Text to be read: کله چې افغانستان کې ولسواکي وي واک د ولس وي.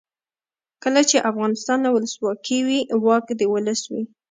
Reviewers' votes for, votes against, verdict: 2, 0, accepted